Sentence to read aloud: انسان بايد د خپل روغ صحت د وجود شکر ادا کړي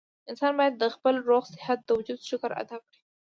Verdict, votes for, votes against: accepted, 2, 0